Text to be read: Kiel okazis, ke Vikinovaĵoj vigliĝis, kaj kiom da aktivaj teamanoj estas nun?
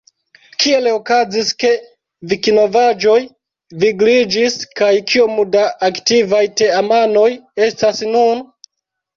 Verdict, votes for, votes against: rejected, 0, 2